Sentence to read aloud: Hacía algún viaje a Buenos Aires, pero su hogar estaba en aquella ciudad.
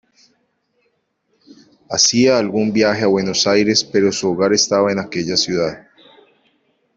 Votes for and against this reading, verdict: 2, 0, accepted